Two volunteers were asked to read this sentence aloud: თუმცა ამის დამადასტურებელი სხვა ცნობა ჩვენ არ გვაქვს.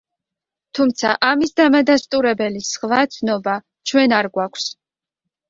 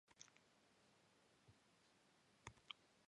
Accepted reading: first